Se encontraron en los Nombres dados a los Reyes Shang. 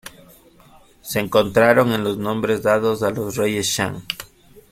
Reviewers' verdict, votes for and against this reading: accepted, 2, 0